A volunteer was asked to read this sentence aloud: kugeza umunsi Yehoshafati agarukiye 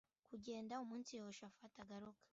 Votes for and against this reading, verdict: 0, 2, rejected